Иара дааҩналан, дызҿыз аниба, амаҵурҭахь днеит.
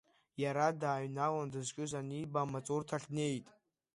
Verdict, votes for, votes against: accepted, 2, 1